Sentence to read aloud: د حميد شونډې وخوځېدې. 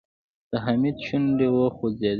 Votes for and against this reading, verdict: 2, 0, accepted